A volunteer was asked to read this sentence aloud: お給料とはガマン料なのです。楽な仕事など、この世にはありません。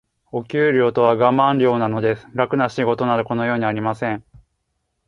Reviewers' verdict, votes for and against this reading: accepted, 4, 0